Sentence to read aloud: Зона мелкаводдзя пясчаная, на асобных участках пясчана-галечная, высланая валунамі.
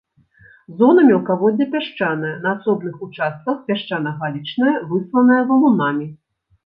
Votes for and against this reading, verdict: 2, 0, accepted